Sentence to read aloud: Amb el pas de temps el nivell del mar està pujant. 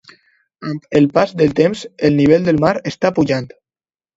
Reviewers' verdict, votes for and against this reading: rejected, 0, 2